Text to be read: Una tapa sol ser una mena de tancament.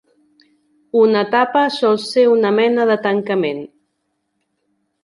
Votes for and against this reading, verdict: 2, 0, accepted